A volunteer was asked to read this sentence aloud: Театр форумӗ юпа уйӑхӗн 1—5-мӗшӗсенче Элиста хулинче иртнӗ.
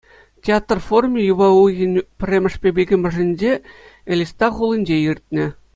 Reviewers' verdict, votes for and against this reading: rejected, 0, 2